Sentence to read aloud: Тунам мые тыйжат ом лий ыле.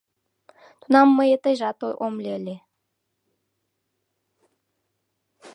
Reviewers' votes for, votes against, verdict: 1, 2, rejected